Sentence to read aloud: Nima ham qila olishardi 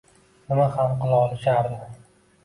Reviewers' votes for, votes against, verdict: 2, 0, accepted